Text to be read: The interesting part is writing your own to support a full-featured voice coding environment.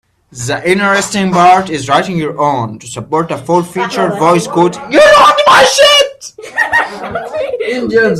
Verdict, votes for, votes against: rejected, 0, 2